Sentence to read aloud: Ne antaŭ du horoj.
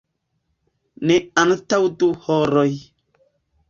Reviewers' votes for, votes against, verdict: 1, 2, rejected